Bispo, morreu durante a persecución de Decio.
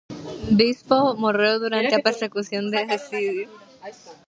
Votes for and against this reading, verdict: 0, 2, rejected